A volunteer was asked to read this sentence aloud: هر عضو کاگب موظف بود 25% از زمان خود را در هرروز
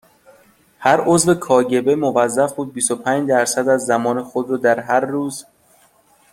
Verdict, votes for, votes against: rejected, 0, 2